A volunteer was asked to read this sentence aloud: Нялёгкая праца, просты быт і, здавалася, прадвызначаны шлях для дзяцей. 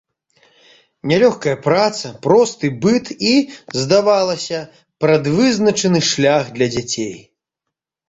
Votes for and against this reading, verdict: 2, 0, accepted